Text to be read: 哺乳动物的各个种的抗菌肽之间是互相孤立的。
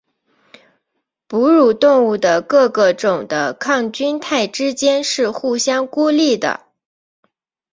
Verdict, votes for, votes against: accepted, 2, 0